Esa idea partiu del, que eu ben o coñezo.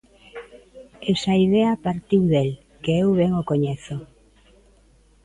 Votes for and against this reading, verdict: 0, 2, rejected